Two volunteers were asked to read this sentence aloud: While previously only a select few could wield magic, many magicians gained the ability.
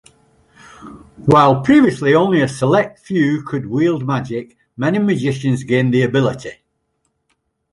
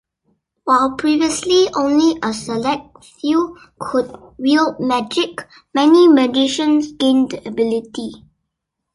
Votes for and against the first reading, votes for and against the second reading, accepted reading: 2, 0, 1, 2, first